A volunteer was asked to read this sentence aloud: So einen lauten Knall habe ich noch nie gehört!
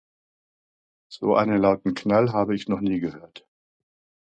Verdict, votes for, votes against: accepted, 2, 0